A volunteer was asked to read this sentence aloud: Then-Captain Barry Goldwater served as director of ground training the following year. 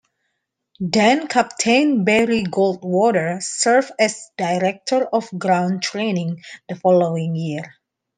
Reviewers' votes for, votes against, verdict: 2, 0, accepted